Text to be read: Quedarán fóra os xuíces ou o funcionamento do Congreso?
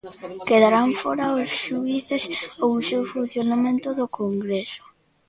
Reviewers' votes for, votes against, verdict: 0, 2, rejected